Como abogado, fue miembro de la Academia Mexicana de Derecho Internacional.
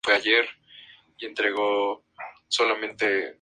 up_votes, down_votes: 2, 0